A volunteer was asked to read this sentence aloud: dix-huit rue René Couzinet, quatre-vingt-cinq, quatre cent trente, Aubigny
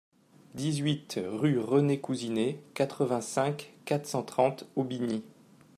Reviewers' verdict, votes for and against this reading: accepted, 2, 0